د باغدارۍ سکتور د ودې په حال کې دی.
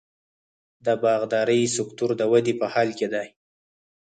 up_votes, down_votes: 2, 4